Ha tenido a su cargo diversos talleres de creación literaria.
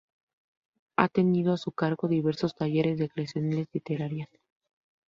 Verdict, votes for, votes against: rejected, 0, 2